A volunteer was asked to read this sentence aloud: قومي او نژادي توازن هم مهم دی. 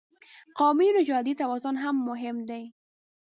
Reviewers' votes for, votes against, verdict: 1, 2, rejected